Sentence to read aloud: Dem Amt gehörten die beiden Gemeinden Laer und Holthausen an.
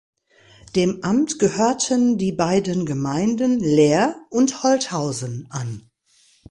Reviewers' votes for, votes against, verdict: 2, 0, accepted